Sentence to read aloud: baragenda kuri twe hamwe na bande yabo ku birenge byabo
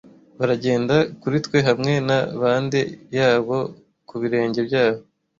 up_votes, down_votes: 2, 0